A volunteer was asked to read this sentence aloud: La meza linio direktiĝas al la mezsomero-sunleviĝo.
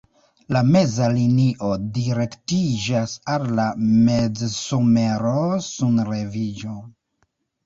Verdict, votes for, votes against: rejected, 0, 2